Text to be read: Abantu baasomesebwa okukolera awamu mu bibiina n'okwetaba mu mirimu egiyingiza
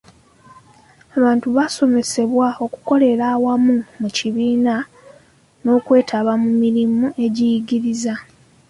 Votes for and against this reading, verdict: 1, 2, rejected